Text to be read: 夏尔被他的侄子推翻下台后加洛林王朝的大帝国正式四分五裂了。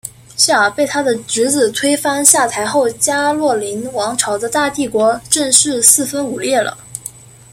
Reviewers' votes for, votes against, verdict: 2, 1, accepted